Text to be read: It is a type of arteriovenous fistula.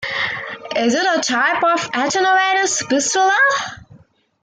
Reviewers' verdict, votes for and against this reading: rejected, 0, 2